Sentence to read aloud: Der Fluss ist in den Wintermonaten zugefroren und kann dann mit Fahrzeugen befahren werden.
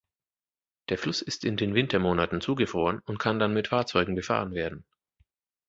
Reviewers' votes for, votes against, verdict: 2, 0, accepted